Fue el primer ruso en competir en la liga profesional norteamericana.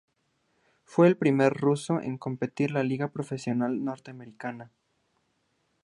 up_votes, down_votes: 0, 2